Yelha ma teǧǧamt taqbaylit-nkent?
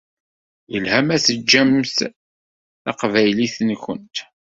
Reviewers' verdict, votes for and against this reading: rejected, 1, 2